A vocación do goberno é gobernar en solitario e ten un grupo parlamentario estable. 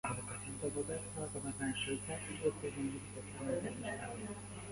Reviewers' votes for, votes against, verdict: 0, 2, rejected